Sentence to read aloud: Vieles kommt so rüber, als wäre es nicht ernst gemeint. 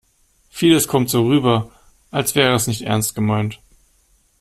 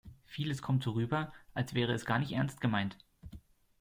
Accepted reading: first